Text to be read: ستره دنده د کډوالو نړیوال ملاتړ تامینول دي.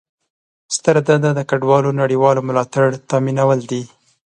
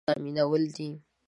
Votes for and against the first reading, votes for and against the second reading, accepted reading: 2, 0, 1, 2, first